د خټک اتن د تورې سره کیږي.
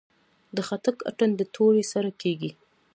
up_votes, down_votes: 2, 0